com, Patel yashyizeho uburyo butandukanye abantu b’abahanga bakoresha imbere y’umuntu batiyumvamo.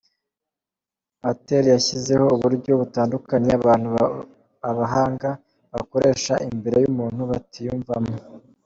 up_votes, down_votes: 2, 0